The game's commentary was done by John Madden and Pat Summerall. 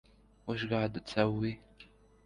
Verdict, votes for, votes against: rejected, 1, 2